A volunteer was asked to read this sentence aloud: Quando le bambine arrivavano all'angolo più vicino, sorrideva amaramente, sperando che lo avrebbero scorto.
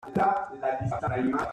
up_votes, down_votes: 0, 2